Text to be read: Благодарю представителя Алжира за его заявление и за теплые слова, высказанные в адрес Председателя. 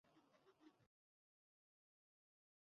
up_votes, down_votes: 0, 2